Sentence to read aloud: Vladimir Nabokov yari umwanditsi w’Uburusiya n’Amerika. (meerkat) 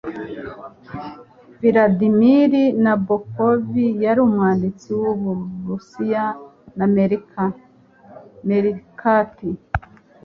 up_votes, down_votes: 2, 0